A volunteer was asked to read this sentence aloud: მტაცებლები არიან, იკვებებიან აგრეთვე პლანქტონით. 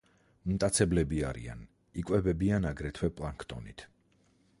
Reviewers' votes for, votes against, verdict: 2, 4, rejected